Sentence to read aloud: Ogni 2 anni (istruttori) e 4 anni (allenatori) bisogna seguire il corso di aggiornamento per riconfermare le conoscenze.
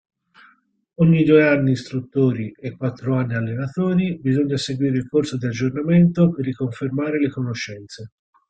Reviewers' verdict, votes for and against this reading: rejected, 0, 2